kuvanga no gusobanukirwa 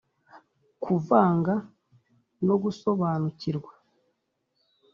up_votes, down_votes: 2, 0